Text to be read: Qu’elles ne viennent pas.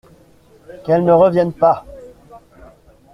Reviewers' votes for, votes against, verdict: 1, 2, rejected